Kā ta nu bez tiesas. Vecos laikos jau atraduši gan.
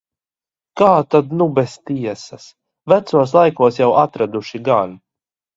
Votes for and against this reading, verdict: 1, 2, rejected